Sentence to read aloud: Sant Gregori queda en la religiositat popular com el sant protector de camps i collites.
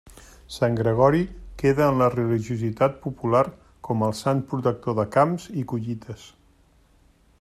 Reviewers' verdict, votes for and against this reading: rejected, 1, 2